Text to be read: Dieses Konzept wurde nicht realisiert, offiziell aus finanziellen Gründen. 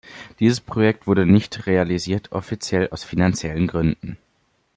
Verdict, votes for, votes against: rejected, 0, 2